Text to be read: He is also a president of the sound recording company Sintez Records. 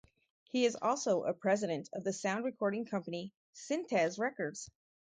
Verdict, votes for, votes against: accepted, 4, 0